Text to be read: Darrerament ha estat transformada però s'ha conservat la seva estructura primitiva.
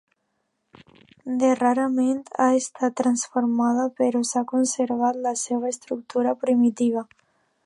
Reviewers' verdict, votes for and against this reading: rejected, 0, 2